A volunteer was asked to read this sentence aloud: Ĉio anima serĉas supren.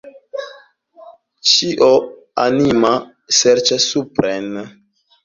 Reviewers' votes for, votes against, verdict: 1, 2, rejected